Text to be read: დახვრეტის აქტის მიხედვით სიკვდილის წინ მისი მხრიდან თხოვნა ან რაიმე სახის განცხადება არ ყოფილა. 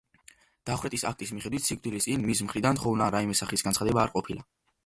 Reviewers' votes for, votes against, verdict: 2, 0, accepted